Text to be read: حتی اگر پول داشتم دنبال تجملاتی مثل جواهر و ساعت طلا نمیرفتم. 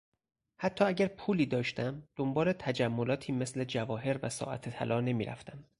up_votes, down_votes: 2, 4